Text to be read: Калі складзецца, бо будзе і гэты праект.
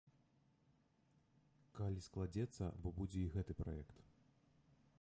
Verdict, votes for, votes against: rejected, 1, 2